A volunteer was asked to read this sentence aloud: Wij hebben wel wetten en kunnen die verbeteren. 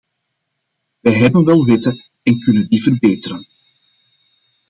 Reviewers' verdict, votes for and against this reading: accepted, 2, 0